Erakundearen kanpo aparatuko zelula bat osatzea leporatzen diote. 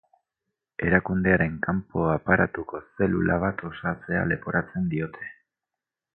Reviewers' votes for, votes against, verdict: 4, 0, accepted